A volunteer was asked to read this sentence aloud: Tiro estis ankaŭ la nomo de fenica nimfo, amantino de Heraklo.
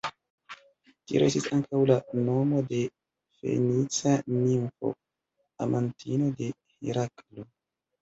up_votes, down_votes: 1, 2